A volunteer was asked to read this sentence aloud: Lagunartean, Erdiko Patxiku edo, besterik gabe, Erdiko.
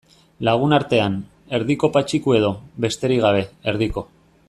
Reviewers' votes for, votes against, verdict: 2, 0, accepted